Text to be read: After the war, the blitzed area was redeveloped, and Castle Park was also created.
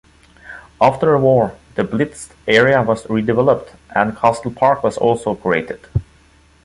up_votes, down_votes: 0, 2